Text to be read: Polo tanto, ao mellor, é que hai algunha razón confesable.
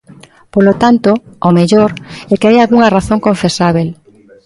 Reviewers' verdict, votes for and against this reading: rejected, 0, 2